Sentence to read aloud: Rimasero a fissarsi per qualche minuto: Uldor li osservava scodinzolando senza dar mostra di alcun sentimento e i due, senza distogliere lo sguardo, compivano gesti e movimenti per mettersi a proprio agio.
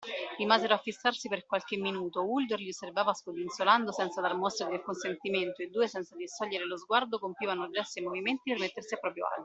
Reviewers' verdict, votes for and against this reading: accepted, 2, 1